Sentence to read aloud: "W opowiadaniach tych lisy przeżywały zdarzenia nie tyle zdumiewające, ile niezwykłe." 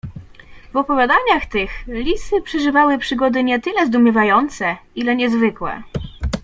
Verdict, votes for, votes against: rejected, 1, 2